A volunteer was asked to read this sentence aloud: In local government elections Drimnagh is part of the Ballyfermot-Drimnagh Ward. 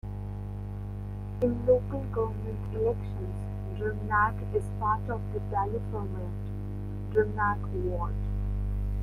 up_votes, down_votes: 1, 2